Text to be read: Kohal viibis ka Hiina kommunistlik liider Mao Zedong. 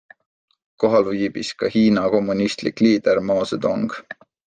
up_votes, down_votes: 2, 0